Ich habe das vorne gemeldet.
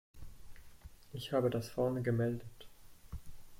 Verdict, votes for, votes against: rejected, 1, 2